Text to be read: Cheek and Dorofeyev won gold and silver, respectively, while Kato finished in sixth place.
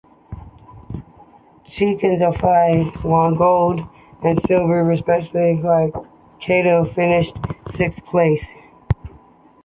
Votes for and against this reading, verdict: 0, 2, rejected